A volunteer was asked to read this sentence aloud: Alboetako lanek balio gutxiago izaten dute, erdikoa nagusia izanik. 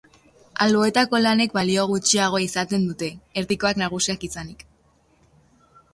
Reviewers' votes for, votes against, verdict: 0, 2, rejected